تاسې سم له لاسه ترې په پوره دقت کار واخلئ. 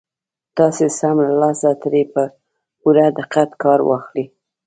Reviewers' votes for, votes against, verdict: 0, 2, rejected